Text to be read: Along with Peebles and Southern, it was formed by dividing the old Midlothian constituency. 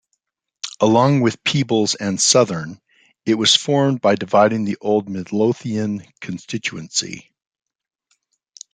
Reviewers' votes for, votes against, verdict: 2, 0, accepted